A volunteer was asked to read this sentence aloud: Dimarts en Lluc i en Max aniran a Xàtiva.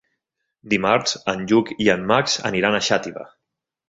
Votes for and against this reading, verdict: 3, 0, accepted